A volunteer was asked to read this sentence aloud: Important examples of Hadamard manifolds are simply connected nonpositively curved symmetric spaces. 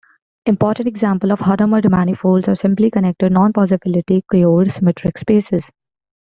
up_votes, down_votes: 0, 2